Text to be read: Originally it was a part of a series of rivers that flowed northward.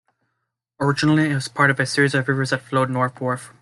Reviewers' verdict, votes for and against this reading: accepted, 2, 0